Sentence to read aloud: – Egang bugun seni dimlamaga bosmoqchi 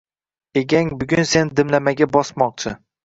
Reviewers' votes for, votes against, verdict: 2, 0, accepted